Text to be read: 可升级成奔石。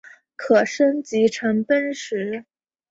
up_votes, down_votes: 2, 0